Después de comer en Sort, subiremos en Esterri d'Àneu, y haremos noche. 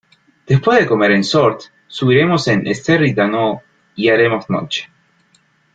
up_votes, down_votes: 2, 1